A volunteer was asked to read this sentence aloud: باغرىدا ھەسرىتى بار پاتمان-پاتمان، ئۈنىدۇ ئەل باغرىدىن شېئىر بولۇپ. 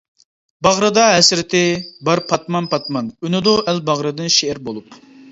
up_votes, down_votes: 2, 0